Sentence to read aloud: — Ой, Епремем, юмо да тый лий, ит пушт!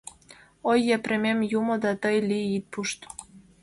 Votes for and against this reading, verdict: 2, 0, accepted